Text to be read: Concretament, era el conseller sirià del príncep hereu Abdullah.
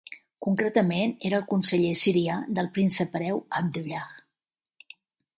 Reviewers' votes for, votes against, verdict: 2, 0, accepted